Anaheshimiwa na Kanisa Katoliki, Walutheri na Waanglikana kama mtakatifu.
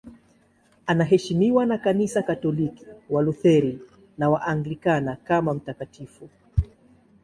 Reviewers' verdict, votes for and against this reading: accepted, 2, 0